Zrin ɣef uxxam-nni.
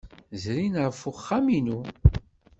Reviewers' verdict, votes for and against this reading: rejected, 1, 2